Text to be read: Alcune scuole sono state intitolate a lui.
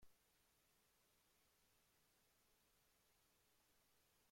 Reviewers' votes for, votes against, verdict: 0, 2, rejected